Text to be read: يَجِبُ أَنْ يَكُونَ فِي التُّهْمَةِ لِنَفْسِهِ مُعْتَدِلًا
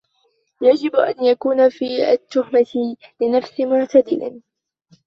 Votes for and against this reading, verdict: 0, 2, rejected